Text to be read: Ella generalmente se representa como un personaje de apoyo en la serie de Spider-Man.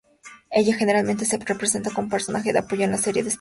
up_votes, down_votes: 0, 2